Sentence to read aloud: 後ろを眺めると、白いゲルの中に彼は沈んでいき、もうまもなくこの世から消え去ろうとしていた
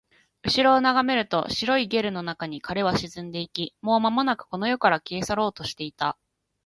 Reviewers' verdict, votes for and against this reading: accepted, 2, 0